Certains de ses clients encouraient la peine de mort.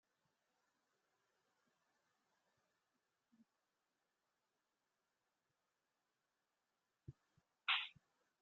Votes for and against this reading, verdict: 0, 2, rejected